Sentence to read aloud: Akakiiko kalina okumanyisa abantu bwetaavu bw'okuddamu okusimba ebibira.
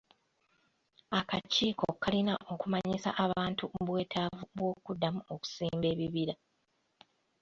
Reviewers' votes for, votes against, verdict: 1, 2, rejected